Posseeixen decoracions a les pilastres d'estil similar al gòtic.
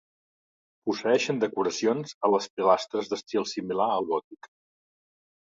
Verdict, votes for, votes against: accepted, 2, 0